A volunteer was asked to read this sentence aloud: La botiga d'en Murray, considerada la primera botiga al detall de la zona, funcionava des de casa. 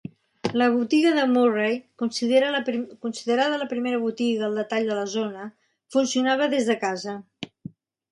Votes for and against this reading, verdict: 0, 3, rejected